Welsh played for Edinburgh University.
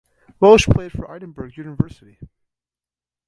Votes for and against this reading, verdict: 2, 0, accepted